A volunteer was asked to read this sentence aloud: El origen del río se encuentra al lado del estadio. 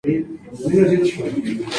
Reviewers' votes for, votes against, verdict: 0, 2, rejected